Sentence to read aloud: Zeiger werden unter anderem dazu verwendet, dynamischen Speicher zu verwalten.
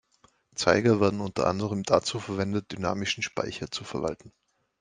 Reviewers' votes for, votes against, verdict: 2, 0, accepted